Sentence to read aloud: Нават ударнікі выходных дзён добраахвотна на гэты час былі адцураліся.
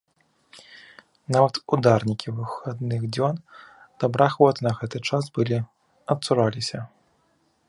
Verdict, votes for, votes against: rejected, 2, 3